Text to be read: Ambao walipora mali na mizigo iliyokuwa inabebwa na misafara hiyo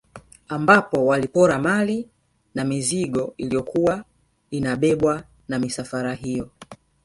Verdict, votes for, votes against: rejected, 1, 2